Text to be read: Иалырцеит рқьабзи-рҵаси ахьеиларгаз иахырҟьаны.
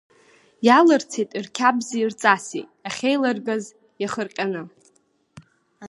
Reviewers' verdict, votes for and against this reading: accepted, 3, 0